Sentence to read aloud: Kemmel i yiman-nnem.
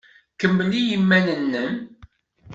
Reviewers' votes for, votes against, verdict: 2, 0, accepted